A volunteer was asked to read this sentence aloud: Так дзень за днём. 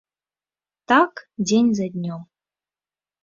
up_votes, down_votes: 2, 0